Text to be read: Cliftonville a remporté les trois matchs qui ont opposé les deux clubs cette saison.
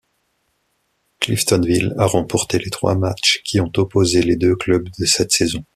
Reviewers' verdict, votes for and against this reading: rejected, 1, 2